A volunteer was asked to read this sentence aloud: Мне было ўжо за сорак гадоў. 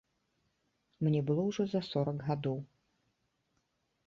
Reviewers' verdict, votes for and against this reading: accepted, 2, 0